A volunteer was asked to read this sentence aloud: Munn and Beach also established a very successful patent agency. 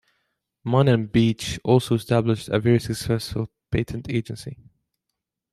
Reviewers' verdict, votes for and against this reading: accepted, 2, 1